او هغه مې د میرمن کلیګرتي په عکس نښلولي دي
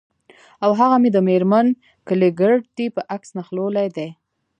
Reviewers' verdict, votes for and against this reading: accepted, 2, 0